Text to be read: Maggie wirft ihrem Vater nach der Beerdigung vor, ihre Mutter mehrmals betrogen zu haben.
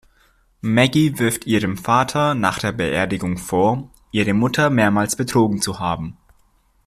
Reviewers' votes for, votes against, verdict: 2, 0, accepted